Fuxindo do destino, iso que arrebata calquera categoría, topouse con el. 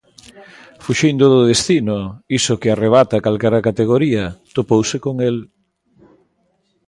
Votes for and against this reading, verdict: 2, 0, accepted